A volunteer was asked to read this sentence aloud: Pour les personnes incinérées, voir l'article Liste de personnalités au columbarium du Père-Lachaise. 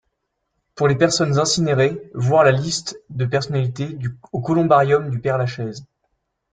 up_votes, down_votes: 0, 2